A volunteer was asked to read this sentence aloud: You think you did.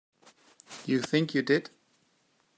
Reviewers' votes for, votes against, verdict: 2, 0, accepted